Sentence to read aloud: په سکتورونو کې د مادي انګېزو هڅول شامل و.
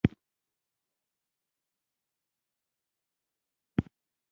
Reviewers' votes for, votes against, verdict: 1, 2, rejected